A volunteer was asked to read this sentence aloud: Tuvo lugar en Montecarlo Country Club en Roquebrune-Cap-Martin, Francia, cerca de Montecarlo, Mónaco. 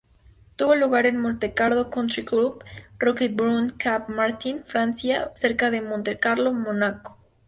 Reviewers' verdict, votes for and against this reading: rejected, 0, 2